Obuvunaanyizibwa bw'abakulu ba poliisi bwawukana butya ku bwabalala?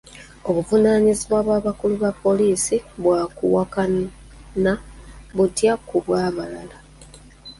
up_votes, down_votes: 0, 2